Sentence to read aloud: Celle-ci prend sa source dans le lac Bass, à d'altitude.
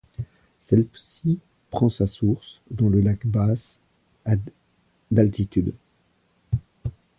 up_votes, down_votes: 1, 2